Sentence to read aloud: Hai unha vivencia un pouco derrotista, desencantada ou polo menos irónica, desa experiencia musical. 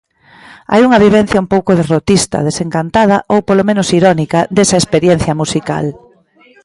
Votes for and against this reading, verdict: 1, 2, rejected